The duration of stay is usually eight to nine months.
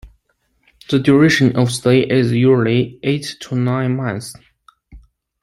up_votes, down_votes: 0, 2